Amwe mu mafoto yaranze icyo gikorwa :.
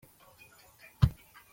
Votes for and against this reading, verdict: 1, 2, rejected